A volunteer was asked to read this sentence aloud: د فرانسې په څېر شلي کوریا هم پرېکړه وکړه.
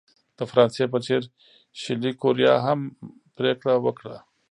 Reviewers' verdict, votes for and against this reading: accepted, 2, 0